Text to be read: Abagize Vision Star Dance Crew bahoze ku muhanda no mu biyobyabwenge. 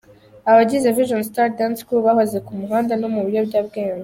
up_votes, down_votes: 2, 1